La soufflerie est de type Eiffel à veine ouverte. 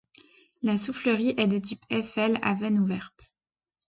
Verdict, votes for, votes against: accepted, 2, 0